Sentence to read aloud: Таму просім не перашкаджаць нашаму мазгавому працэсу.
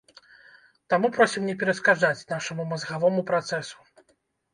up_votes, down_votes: 0, 2